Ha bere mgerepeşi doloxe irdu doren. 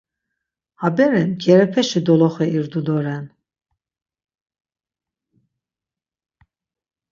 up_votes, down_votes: 6, 0